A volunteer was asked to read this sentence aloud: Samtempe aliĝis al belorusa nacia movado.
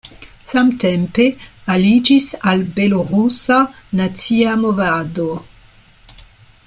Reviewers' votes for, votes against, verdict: 2, 0, accepted